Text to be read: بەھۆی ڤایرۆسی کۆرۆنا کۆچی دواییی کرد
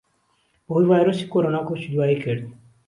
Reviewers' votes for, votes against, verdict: 2, 0, accepted